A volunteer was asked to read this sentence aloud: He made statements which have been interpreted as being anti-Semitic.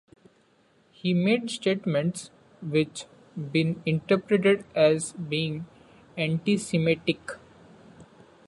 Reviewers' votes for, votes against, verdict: 2, 1, accepted